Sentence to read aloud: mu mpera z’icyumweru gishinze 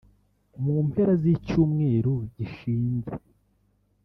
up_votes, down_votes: 1, 2